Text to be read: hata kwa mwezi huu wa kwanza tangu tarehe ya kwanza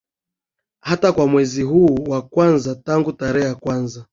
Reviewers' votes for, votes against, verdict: 6, 1, accepted